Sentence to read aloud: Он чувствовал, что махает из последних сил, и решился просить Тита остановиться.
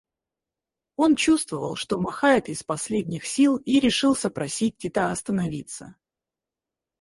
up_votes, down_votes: 2, 4